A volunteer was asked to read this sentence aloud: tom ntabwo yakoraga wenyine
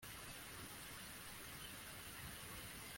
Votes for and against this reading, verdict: 0, 2, rejected